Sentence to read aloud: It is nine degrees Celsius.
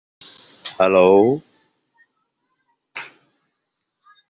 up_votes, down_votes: 0, 2